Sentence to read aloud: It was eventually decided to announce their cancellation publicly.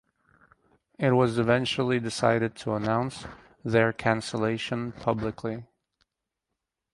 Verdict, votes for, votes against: accepted, 4, 0